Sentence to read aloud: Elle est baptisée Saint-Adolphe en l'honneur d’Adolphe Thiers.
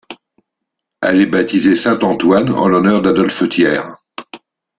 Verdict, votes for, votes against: rejected, 0, 2